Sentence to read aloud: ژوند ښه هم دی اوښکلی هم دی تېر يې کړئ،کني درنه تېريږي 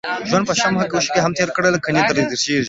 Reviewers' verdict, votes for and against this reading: rejected, 0, 2